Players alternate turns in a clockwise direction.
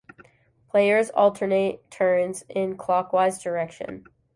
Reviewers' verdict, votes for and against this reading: rejected, 0, 2